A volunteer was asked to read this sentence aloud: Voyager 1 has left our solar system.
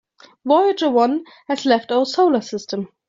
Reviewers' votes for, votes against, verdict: 0, 2, rejected